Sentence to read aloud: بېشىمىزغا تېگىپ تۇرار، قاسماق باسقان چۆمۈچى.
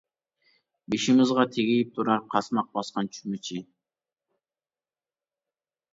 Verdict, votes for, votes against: accepted, 2, 0